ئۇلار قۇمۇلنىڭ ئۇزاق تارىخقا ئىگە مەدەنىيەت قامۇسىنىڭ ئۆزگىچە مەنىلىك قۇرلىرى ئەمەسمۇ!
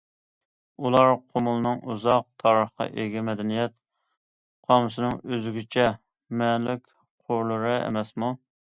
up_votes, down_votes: 2, 0